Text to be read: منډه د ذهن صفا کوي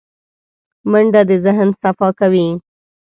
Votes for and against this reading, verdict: 2, 0, accepted